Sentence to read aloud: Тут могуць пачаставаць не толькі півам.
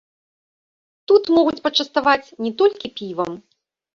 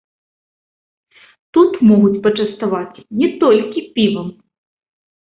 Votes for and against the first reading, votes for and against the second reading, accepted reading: 2, 1, 0, 2, first